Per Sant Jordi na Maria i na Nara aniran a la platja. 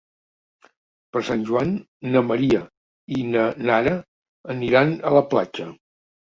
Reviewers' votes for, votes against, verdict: 0, 2, rejected